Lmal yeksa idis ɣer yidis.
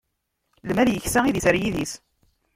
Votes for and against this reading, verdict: 1, 2, rejected